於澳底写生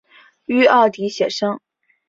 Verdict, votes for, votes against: accepted, 2, 0